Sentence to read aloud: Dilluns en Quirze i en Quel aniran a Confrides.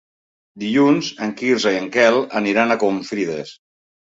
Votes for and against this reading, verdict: 2, 0, accepted